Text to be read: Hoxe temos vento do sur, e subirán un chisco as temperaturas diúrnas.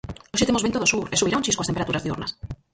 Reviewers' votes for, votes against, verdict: 0, 4, rejected